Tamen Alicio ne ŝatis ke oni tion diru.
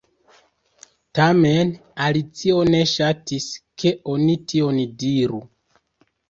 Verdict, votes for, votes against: accepted, 2, 1